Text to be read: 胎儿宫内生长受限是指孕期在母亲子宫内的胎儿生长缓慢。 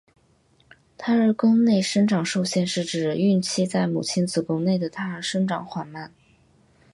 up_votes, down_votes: 2, 0